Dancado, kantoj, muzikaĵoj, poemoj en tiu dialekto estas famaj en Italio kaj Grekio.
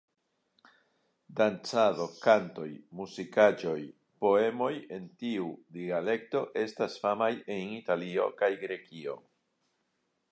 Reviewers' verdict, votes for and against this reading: accepted, 3, 0